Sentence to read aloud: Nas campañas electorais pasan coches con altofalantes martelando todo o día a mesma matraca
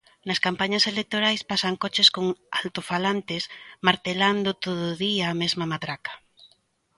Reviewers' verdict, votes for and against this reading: accepted, 2, 0